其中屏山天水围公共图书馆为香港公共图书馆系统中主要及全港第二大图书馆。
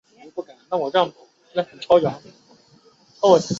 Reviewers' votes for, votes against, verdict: 2, 3, rejected